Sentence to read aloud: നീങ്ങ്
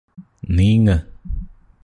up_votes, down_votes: 2, 0